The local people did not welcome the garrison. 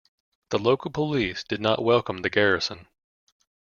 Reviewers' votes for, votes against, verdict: 0, 2, rejected